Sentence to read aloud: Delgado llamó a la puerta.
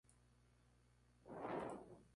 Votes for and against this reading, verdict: 0, 4, rejected